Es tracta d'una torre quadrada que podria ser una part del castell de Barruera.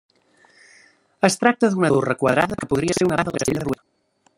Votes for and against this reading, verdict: 0, 2, rejected